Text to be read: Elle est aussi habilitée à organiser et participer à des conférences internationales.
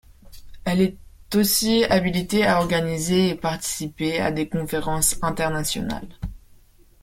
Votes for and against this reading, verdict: 1, 2, rejected